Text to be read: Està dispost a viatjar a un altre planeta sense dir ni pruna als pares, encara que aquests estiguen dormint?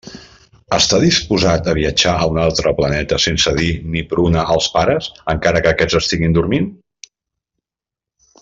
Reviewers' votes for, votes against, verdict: 1, 2, rejected